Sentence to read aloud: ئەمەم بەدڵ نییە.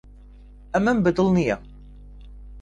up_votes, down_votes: 2, 0